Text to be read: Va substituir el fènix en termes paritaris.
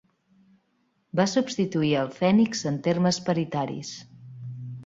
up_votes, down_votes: 3, 0